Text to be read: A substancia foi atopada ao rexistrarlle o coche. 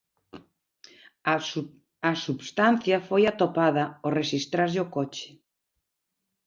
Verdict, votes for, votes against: rejected, 1, 2